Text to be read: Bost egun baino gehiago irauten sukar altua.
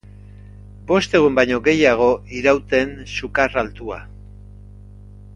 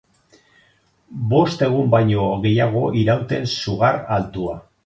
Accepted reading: first